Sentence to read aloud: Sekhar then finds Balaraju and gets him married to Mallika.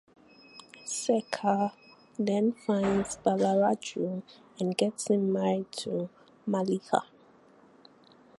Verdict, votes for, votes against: rejected, 2, 4